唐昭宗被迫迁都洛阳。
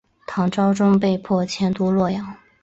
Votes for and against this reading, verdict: 2, 0, accepted